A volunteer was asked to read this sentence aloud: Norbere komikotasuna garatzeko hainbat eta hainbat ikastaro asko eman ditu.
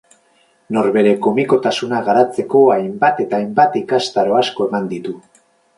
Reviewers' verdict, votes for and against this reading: accepted, 4, 0